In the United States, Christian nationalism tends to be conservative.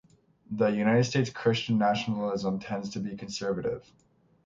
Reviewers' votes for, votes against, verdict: 6, 0, accepted